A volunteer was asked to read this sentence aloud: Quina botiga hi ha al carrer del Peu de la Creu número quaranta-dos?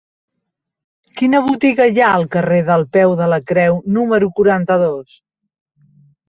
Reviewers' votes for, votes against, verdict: 3, 0, accepted